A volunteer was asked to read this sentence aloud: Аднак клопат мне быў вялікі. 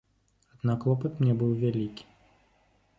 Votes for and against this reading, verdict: 1, 2, rejected